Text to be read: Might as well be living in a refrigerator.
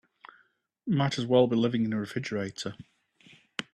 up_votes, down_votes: 2, 0